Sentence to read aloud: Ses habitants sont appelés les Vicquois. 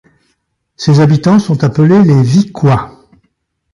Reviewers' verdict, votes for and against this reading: accepted, 2, 0